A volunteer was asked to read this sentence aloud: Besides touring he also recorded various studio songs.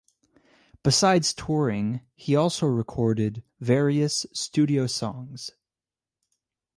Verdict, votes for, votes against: accepted, 4, 0